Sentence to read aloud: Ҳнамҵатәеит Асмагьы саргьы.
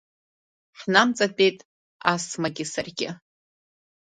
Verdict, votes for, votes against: rejected, 1, 2